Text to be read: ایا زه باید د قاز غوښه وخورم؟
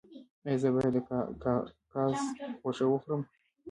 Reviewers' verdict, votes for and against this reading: accepted, 3, 1